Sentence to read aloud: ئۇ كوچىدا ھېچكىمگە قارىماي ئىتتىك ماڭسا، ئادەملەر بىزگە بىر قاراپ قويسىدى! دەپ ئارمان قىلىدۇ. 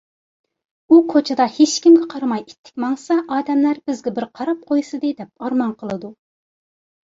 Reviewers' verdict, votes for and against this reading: accepted, 2, 0